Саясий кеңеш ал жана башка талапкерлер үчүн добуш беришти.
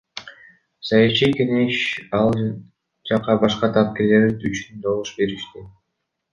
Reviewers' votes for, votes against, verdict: 1, 2, rejected